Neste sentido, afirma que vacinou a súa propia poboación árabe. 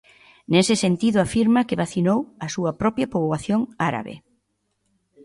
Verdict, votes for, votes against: rejected, 0, 2